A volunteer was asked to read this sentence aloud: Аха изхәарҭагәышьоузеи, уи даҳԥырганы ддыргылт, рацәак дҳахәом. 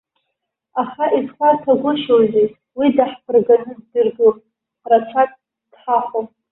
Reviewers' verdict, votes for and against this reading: rejected, 0, 2